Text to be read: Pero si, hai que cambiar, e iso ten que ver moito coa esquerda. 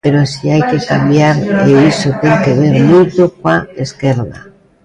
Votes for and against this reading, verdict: 0, 2, rejected